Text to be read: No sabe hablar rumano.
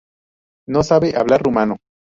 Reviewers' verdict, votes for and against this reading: accepted, 2, 0